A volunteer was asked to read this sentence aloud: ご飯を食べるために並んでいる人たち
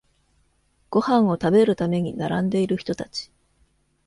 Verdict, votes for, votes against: accepted, 2, 0